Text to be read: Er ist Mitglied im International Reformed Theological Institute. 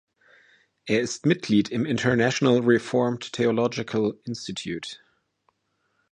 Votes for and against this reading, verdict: 0, 2, rejected